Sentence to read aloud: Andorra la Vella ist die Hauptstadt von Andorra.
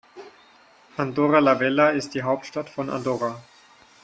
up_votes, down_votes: 4, 0